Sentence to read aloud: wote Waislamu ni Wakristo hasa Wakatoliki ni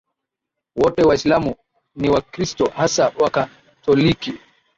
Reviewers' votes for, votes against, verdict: 1, 2, rejected